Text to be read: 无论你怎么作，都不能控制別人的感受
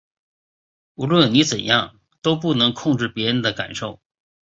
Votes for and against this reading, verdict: 1, 2, rejected